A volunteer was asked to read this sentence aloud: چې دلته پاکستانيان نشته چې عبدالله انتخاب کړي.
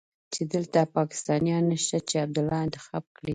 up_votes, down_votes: 2, 0